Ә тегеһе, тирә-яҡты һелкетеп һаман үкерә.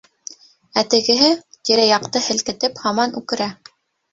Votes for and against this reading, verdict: 2, 1, accepted